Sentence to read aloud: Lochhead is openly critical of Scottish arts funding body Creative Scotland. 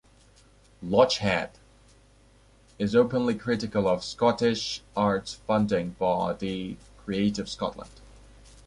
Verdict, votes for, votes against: accepted, 2, 0